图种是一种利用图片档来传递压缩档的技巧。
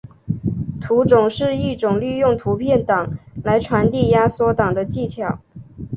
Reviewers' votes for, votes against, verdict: 4, 0, accepted